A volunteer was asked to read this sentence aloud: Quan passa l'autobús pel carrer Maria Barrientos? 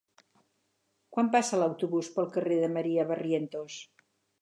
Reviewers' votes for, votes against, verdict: 0, 4, rejected